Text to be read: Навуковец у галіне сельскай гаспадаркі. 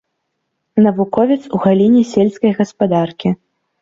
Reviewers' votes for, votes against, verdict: 0, 2, rejected